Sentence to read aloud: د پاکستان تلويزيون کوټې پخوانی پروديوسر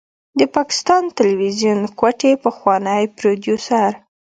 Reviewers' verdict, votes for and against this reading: accepted, 2, 0